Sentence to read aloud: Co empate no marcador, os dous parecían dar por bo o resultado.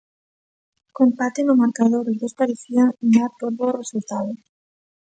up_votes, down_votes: 2, 0